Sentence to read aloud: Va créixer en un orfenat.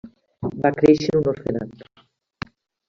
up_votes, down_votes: 1, 2